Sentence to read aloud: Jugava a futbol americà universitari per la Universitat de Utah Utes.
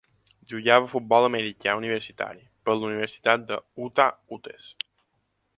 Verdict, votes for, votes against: rejected, 0, 3